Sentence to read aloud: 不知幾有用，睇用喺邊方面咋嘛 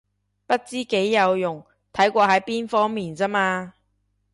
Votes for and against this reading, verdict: 0, 2, rejected